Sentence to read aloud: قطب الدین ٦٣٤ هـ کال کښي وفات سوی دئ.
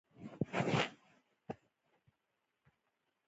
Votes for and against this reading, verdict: 0, 2, rejected